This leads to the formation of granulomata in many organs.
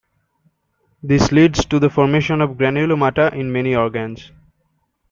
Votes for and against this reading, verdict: 2, 0, accepted